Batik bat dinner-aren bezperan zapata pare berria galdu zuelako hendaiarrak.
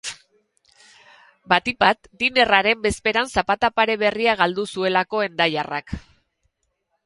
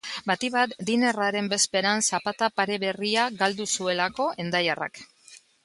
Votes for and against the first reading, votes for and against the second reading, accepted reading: 0, 2, 2, 0, second